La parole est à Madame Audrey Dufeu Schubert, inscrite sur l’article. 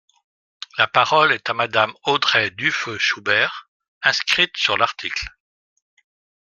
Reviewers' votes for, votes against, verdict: 2, 0, accepted